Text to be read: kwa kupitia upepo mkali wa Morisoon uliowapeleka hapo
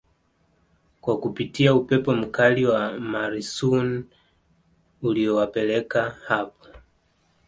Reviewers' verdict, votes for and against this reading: accepted, 2, 0